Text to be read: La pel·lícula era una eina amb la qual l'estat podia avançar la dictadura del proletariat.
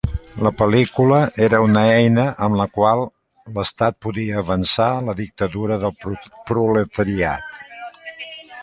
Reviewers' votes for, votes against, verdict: 1, 2, rejected